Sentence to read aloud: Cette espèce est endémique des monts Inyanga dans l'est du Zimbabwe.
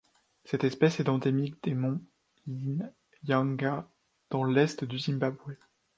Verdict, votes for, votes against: accepted, 2, 0